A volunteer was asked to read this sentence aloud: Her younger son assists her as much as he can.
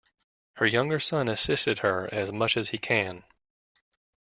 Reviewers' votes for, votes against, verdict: 3, 2, accepted